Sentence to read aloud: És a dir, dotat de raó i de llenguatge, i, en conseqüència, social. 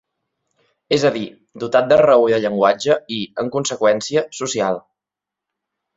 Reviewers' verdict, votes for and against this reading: accepted, 4, 0